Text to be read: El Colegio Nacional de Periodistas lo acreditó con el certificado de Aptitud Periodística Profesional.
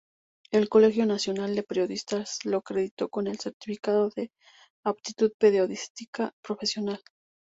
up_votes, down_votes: 0, 2